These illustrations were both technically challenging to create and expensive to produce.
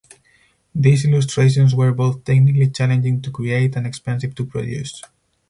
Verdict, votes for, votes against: rejected, 2, 4